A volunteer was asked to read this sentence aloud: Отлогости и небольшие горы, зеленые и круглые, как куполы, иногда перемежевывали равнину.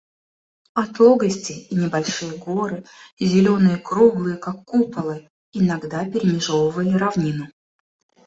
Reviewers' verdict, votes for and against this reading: accepted, 2, 0